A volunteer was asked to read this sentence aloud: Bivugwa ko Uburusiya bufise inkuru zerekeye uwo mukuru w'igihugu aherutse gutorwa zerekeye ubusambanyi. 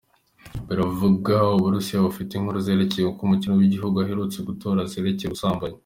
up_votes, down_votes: 2, 1